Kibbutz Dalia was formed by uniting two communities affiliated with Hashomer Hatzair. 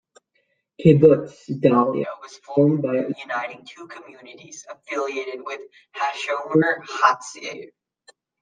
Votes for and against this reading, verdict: 1, 2, rejected